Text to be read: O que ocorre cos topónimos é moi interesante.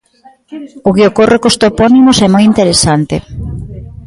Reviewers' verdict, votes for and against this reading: accepted, 2, 0